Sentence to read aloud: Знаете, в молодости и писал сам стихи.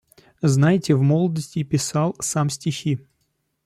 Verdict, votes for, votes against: accepted, 2, 0